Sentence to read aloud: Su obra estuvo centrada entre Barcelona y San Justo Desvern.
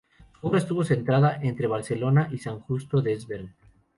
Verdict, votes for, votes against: accepted, 2, 0